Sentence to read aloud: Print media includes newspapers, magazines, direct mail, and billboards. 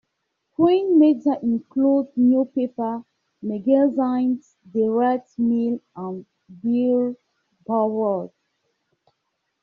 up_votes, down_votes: 0, 2